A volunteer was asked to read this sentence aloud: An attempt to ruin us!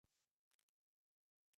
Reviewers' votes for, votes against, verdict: 0, 2, rejected